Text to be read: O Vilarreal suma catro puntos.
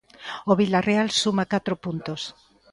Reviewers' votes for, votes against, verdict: 2, 0, accepted